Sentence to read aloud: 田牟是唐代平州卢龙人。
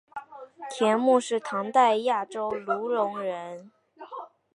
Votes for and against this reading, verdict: 1, 2, rejected